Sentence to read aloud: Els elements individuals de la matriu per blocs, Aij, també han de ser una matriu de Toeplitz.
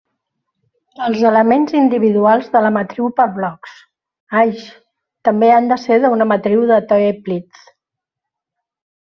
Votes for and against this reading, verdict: 2, 1, accepted